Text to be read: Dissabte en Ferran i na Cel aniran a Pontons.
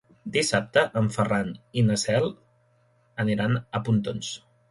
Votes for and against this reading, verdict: 2, 0, accepted